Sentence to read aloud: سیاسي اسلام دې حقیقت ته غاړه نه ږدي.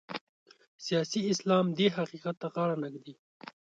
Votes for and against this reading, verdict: 2, 0, accepted